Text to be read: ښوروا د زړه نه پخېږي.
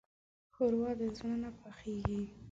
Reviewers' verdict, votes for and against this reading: accepted, 2, 0